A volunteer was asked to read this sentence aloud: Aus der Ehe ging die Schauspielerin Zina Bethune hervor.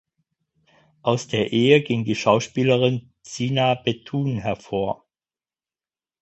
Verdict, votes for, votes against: accepted, 4, 0